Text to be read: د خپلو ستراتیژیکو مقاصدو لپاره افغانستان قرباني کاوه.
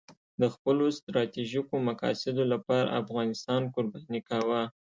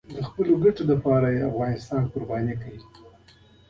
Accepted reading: first